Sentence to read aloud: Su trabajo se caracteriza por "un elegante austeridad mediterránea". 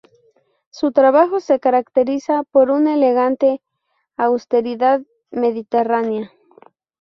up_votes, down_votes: 2, 0